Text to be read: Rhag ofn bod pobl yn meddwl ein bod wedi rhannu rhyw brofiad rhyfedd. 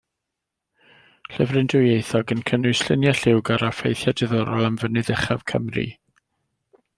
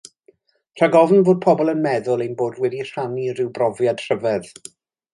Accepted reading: second